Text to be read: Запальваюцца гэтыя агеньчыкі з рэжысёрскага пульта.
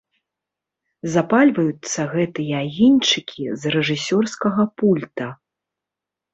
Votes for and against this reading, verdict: 2, 0, accepted